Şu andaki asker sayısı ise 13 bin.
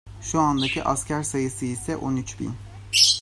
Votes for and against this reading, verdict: 0, 2, rejected